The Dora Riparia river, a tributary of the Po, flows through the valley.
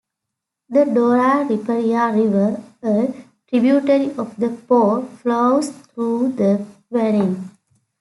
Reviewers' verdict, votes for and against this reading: accepted, 2, 0